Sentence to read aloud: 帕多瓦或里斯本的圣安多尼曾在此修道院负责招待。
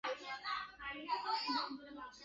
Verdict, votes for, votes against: rejected, 0, 6